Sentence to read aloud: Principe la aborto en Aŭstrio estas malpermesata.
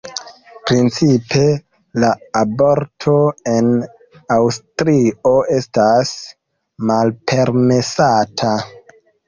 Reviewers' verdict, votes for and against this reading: accepted, 2, 0